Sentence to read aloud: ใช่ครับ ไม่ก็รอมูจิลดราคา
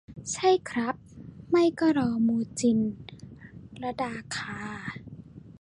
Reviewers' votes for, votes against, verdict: 0, 2, rejected